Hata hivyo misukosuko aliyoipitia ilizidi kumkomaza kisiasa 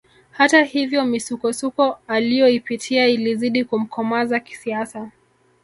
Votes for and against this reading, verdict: 1, 2, rejected